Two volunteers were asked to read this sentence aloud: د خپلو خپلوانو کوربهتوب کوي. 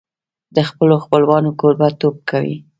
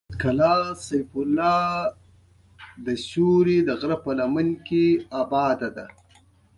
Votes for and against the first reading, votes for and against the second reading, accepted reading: 2, 0, 1, 2, first